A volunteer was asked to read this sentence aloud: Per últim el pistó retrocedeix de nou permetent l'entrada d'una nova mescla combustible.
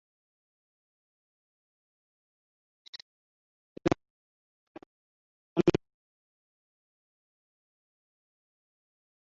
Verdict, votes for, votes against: rejected, 0, 3